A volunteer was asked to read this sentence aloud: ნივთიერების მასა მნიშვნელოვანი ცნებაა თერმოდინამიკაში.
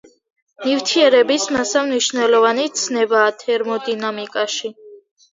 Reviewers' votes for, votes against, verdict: 2, 0, accepted